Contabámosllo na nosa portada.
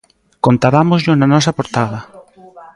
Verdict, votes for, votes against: rejected, 1, 2